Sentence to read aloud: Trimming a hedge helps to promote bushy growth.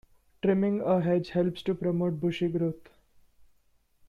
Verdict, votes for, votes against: rejected, 0, 2